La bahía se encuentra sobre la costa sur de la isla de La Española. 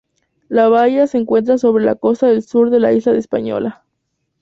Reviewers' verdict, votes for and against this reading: accepted, 2, 0